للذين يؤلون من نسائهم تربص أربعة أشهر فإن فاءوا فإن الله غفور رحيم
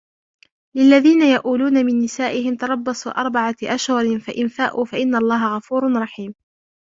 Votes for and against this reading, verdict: 0, 2, rejected